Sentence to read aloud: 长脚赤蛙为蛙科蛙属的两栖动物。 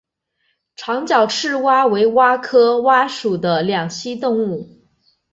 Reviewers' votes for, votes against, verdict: 3, 0, accepted